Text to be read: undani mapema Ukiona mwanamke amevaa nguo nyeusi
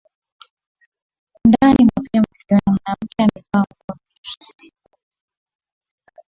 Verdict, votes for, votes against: rejected, 0, 2